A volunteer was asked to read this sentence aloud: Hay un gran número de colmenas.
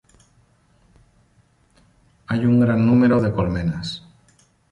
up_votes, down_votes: 2, 0